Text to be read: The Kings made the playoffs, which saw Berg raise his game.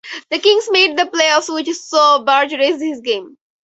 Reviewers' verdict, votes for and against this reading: rejected, 2, 2